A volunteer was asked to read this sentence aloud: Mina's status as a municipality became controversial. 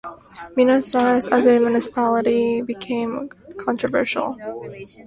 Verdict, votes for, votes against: rejected, 0, 3